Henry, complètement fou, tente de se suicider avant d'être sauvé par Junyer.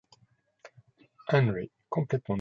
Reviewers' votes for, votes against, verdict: 0, 2, rejected